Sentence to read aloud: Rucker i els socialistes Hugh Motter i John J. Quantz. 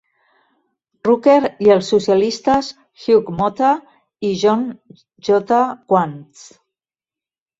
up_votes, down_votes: 3, 1